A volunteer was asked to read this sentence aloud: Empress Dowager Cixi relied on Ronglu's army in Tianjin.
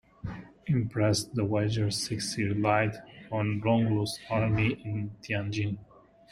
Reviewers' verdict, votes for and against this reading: accepted, 2, 0